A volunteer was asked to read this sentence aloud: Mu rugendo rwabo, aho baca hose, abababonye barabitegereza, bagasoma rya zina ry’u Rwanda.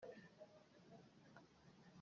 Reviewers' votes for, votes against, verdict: 0, 2, rejected